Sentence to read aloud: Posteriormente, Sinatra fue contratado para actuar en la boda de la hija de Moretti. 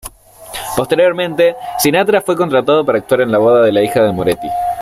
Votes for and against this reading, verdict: 2, 0, accepted